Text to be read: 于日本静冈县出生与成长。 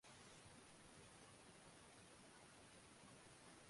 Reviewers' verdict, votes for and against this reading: rejected, 0, 2